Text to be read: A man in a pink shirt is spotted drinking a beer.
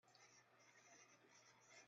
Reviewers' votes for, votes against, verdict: 1, 2, rejected